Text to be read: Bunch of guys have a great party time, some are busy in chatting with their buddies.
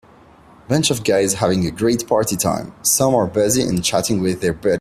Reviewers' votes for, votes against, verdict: 0, 2, rejected